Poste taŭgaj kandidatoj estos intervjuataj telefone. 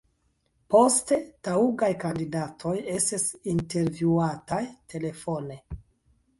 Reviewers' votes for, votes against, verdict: 0, 2, rejected